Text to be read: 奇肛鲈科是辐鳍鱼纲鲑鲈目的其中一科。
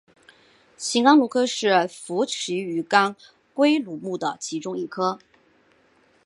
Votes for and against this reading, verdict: 1, 2, rejected